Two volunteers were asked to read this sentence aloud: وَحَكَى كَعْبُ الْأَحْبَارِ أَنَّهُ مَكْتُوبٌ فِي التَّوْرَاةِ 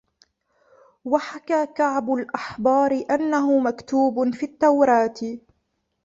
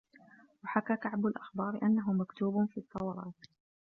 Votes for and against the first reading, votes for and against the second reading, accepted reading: 2, 1, 0, 2, first